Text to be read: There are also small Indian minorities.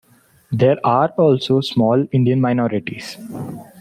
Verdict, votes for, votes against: accepted, 2, 0